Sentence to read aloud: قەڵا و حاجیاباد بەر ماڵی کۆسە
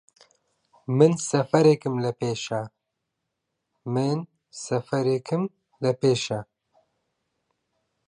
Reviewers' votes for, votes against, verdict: 0, 2, rejected